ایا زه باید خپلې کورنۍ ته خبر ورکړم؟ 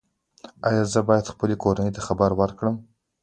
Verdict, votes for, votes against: rejected, 1, 2